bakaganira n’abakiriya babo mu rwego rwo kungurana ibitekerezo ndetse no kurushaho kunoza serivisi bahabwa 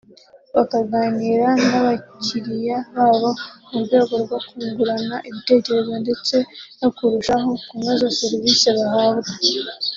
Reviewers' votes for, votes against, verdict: 3, 0, accepted